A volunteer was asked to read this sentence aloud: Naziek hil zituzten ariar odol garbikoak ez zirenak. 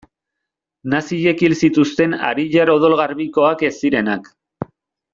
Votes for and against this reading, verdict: 1, 2, rejected